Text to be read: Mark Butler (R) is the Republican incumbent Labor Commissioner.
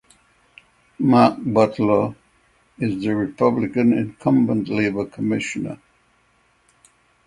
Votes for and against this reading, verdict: 0, 6, rejected